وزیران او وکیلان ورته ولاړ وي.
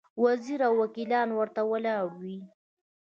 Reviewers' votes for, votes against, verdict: 2, 0, accepted